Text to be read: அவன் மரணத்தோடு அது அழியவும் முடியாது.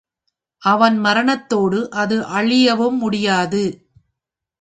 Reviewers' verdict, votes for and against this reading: accepted, 2, 0